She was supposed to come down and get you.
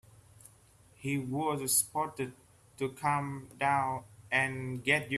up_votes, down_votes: 0, 2